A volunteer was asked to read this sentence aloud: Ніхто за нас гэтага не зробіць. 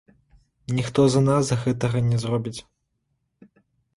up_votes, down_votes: 2, 0